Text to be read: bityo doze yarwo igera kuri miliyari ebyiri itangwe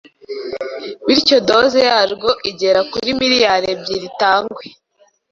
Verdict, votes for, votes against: accepted, 2, 0